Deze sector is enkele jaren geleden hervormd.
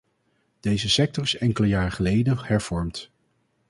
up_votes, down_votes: 0, 4